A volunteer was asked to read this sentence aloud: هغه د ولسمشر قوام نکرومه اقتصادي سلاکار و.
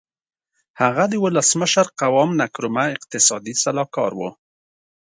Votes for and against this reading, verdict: 2, 0, accepted